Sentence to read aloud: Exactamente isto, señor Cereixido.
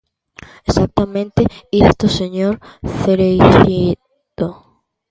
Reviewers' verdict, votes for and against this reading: rejected, 0, 2